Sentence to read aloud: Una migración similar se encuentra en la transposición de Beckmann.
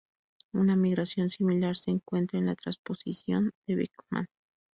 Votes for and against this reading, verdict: 2, 2, rejected